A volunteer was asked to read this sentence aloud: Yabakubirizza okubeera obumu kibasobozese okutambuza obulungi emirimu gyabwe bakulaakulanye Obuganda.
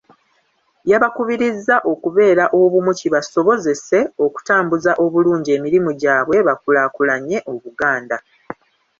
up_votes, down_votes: 2, 1